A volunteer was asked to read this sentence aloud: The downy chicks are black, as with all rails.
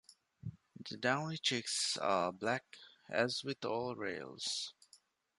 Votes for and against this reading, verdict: 2, 0, accepted